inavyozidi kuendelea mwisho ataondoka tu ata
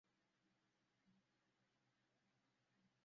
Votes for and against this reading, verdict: 0, 2, rejected